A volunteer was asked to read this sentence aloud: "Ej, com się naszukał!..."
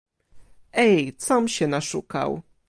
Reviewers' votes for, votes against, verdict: 1, 2, rejected